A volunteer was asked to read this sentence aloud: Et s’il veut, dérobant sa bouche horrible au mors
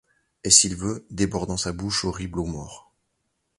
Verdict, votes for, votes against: rejected, 1, 2